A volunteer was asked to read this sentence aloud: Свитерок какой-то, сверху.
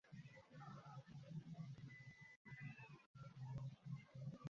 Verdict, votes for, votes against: rejected, 0, 2